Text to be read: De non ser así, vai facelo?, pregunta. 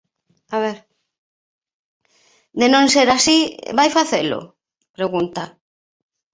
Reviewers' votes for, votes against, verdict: 0, 2, rejected